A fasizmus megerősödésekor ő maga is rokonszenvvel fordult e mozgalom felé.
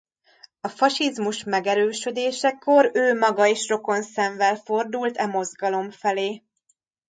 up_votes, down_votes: 0, 2